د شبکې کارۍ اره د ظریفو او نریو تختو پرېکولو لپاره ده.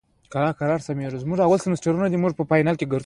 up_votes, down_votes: 2, 0